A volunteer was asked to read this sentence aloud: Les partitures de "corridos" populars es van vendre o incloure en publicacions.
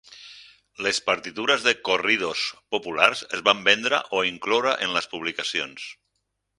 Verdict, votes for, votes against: rejected, 0, 4